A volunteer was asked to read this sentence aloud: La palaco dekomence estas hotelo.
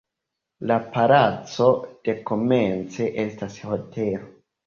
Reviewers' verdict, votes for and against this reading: accepted, 2, 1